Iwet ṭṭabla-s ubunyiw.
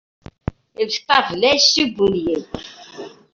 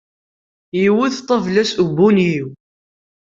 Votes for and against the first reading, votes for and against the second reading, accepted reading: 1, 2, 2, 0, second